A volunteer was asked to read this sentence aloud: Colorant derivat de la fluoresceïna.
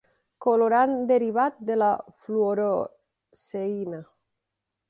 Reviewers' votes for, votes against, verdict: 0, 2, rejected